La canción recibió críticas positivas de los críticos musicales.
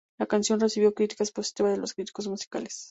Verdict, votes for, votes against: accepted, 2, 0